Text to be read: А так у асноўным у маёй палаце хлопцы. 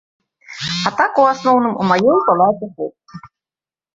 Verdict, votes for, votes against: rejected, 1, 2